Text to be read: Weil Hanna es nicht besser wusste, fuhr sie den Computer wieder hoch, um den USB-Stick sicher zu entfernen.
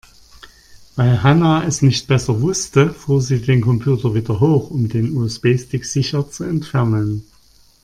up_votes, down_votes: 2, 0